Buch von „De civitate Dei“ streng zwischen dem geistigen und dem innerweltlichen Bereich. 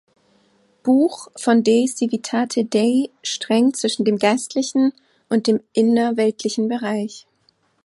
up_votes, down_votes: 1, 2